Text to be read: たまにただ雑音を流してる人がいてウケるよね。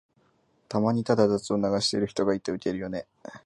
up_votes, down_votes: 2, 0